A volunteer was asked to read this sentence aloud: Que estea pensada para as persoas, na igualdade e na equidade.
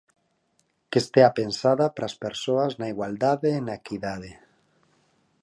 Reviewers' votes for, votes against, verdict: 4, 0, accepted